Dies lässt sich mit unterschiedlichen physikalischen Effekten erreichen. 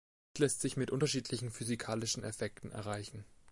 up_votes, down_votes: 0, 2